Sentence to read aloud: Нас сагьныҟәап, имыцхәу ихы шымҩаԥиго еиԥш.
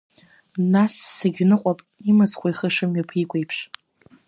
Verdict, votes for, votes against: accepted, 2, 0